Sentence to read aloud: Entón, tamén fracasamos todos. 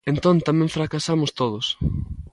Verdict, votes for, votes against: accepted, 2, 0